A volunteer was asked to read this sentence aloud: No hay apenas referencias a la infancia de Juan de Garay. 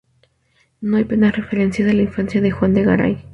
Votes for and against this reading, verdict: 0, 2, rejected